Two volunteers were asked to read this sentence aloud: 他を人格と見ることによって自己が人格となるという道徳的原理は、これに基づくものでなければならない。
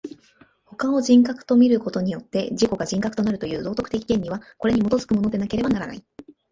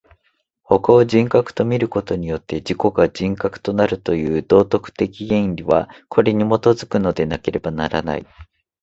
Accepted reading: first